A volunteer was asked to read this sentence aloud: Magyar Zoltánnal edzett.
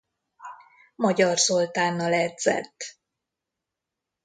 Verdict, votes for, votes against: accepted, 2, 0